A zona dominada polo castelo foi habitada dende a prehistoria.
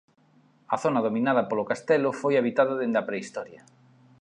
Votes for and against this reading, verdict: 2, 0, accepted